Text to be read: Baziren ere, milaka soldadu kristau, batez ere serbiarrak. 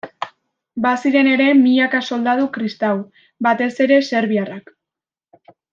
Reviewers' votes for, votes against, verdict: 2, 0, accepted